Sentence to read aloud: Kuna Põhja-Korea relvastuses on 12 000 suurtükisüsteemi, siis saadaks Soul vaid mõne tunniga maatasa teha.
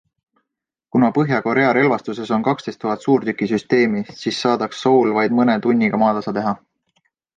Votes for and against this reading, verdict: 0, 2, rejected